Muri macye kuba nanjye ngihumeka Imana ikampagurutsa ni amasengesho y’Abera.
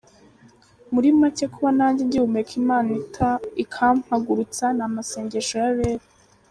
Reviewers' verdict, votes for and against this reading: rejected, 0, 2